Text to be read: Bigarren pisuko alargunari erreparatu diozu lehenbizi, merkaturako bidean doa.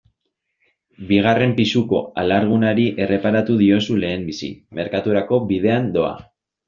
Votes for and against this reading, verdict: 2, 1, accepted